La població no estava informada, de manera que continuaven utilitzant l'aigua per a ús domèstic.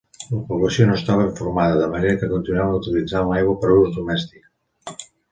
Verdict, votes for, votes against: accepted, 2, 0